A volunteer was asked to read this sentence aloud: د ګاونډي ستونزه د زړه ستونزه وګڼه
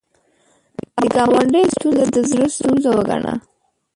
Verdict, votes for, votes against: rejected, 1, 2